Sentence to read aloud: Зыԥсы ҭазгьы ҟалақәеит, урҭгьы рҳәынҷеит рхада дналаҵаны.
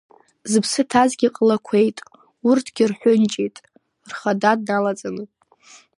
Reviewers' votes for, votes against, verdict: 2, 0, accepted